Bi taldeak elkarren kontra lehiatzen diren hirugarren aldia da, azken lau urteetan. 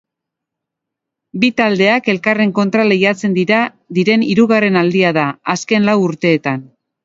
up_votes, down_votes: 2, 1